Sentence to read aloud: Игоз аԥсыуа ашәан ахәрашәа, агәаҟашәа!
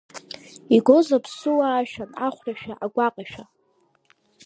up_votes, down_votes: 1, 2